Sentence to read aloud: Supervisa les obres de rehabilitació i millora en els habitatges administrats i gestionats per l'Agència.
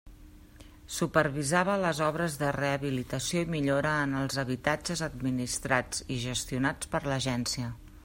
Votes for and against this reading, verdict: 0, 2, rejected